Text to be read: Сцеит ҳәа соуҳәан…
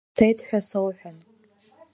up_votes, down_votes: 2, 0